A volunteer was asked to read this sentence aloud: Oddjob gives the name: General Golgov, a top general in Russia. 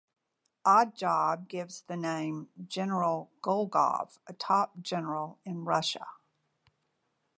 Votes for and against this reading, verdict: 2, 0, accepted